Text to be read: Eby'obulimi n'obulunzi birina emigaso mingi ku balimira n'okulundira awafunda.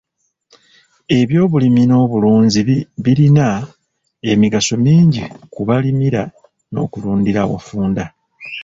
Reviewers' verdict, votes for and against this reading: rejected, 1, 2